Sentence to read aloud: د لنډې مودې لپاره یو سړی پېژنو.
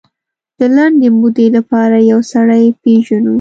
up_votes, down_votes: 2, 0